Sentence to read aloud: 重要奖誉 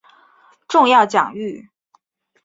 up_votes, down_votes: 3, 0